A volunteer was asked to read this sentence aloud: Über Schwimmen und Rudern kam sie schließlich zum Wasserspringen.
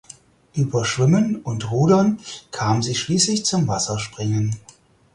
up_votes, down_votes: 4, 0